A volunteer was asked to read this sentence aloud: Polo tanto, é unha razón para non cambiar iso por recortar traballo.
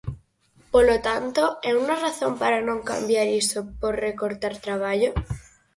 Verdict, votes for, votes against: accepted, 4, 0